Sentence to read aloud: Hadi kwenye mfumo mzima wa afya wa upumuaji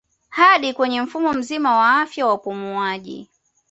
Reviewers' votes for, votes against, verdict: 2, 0, accepted